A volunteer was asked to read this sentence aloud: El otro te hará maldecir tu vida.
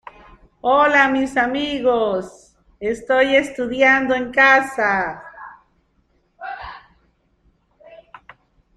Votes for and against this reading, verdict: 1, 2, rejected